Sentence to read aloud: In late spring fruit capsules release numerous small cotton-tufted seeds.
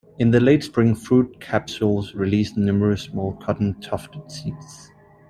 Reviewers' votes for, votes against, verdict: 2, 0, accepted